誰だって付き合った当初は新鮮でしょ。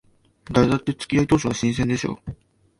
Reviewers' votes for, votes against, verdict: 1, 2, rejected